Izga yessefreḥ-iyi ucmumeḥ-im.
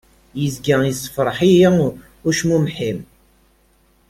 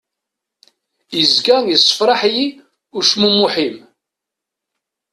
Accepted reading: first